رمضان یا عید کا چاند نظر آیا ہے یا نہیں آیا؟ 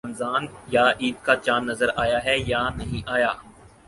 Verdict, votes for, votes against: accepted, 4, 0